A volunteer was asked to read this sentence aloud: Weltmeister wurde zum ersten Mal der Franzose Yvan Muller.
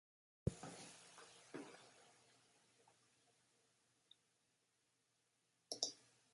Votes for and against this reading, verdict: 0, 2, rejected